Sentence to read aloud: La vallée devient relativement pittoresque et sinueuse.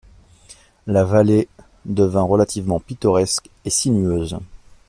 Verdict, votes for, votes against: rejected, 0, 2